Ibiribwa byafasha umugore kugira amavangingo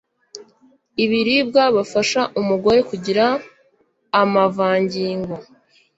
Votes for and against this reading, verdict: 1, 2, rejected